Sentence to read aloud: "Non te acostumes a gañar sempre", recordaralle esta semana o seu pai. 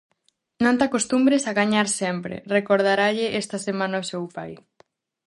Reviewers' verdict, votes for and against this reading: rejected, 0, 2